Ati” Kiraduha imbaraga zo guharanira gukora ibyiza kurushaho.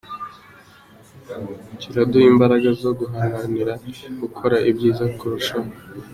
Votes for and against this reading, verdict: 2, 0, accepted